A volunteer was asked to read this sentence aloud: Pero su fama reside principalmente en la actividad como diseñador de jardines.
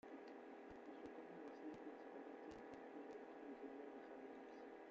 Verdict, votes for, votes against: rejected, 0, 2